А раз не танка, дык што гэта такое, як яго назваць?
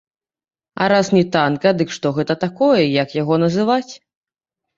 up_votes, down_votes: 1, 3